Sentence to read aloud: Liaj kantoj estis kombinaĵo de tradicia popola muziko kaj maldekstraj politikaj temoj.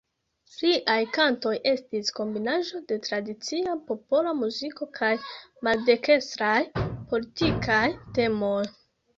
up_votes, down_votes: 0, 2